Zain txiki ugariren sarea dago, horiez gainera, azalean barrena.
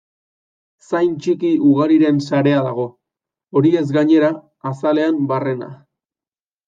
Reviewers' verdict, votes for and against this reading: accepted, 2, 0